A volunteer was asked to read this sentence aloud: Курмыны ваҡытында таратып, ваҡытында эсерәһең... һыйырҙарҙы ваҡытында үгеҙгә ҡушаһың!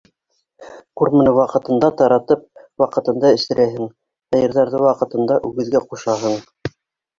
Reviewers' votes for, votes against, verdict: 1, 2, rejected